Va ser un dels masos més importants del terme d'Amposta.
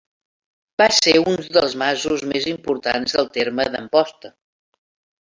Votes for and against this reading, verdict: 2, 0, accepted